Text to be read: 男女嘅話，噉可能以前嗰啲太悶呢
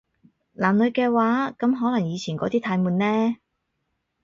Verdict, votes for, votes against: accepted, 4, 0